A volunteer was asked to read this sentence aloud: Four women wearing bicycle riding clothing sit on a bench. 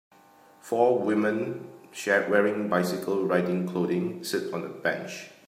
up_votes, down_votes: 0, 3